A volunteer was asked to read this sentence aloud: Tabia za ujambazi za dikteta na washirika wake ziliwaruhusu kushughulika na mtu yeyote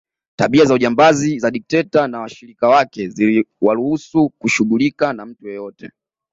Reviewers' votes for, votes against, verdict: 2, 1, accepted